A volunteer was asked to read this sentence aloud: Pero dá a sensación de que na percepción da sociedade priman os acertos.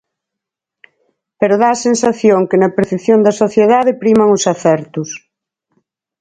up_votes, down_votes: 2, 4